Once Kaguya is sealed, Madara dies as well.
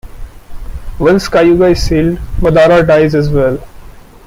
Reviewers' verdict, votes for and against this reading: rejected, 1, 2